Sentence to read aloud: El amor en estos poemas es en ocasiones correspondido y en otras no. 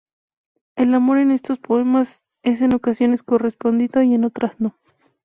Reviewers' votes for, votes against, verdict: 2, 0, accepted